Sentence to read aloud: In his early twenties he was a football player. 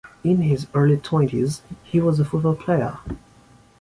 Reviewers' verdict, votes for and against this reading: accepted, 2, 0